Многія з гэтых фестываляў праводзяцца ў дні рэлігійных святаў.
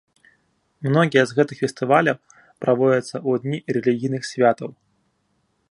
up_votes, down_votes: 1, 2